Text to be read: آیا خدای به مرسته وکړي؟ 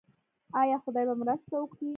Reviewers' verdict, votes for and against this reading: rejected, 0, 2